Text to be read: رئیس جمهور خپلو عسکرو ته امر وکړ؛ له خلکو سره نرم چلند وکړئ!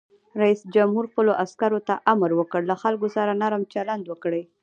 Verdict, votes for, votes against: rejected, 1, 2